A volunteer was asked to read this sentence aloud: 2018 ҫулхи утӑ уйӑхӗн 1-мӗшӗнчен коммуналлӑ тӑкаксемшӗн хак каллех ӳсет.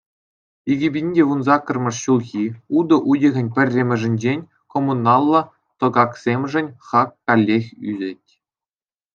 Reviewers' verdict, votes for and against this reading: rejected, 0, 2